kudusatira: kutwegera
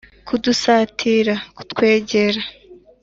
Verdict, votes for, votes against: accepted, 2, 0